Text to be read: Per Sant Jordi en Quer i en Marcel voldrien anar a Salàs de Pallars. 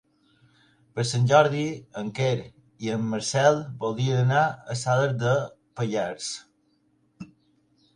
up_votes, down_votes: 3, 0